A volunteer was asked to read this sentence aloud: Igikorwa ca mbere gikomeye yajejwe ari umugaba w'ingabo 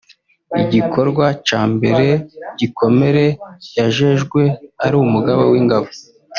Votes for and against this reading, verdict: 0, 2, rejected